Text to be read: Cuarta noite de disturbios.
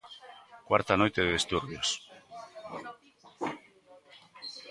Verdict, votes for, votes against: accepted, 2, 1